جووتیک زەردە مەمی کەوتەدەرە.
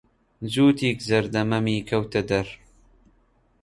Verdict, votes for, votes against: rejected, 1, 2